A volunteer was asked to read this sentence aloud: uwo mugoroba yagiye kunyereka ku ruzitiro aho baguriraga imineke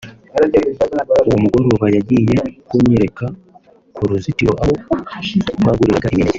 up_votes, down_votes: 1, 2